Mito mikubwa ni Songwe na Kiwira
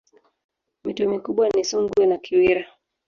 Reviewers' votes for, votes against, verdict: 1, 2, rejected